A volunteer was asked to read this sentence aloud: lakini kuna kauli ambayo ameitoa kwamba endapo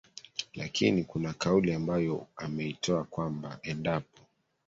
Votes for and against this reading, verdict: 2, 1, accepted